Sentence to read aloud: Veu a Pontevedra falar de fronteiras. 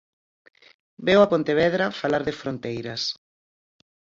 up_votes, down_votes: 4, 0